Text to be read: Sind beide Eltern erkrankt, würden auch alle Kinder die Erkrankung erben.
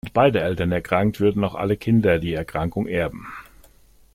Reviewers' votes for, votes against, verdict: 0, 2, rejected